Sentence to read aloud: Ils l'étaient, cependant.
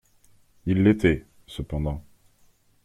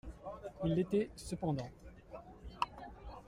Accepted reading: first